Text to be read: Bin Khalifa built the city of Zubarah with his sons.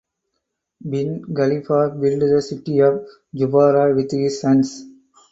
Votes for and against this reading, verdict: 4, 0, accepted